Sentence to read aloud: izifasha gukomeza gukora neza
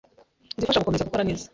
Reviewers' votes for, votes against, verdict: 1, 2, rejected